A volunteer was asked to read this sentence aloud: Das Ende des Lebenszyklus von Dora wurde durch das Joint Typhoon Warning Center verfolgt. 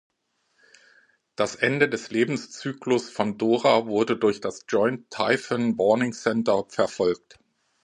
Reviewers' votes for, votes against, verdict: 2, 0, accepted